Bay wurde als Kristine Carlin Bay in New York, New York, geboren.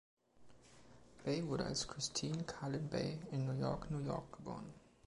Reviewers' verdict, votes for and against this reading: accepted, 2, 0